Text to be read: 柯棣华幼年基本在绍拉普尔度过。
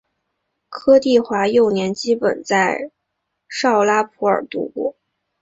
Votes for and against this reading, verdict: 2, 0, accepted